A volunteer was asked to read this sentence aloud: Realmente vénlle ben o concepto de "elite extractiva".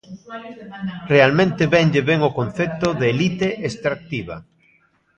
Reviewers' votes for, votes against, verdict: 0, 2, rejected